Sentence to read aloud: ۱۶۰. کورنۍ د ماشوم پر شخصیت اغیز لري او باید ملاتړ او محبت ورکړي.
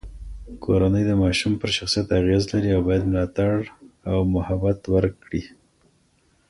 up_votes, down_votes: 0, 2